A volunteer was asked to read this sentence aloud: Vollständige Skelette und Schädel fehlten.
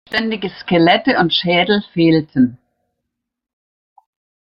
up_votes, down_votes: 1, 2